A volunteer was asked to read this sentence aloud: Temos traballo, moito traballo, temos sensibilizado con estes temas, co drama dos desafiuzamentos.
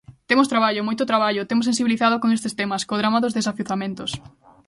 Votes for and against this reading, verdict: 2, 1, accepted